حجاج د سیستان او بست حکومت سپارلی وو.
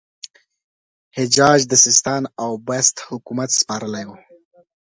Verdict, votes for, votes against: rejected, 0, 2